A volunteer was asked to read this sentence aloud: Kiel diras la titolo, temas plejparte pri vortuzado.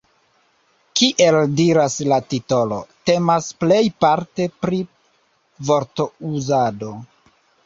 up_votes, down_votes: 1, 2